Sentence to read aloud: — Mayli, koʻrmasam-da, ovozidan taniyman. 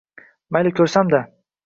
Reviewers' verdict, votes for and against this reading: rejected, 0, 2